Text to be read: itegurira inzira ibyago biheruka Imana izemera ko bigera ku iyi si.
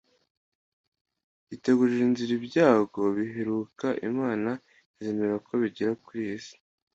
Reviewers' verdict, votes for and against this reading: accepted, 2, 0